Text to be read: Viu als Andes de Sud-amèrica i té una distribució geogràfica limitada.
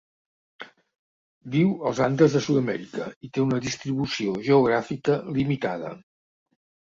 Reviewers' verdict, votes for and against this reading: accepted, 3, 0